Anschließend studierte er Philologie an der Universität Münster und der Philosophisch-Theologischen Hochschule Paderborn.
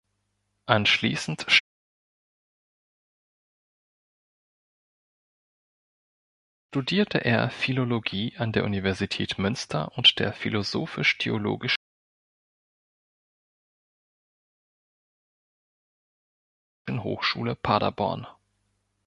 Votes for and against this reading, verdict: 0, 2, rejected